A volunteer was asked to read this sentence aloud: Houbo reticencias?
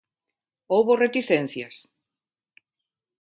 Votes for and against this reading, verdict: 2, 0, accepted